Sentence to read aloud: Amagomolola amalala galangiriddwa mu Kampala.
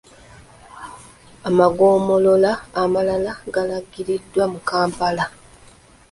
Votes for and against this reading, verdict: 2, 0, accepted